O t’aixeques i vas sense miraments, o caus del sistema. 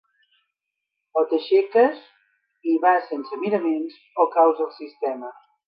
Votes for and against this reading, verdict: 1, 2, rejected